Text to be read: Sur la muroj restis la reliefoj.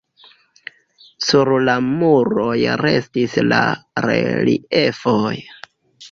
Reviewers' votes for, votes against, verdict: 1, 2, rejected